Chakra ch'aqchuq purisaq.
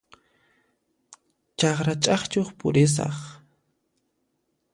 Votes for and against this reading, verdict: 2, 0, accepted